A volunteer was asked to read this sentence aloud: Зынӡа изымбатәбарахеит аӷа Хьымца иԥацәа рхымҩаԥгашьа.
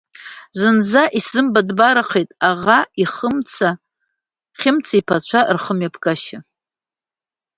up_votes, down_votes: 1, 2